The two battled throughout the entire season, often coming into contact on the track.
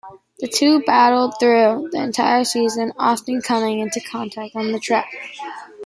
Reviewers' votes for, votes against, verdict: 0, 2, rejected